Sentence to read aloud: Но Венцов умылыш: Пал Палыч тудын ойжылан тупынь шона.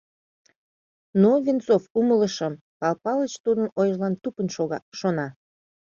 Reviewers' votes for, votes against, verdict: 1, 2, rejected